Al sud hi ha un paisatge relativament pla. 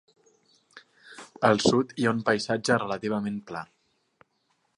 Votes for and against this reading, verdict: 2, 0, accepted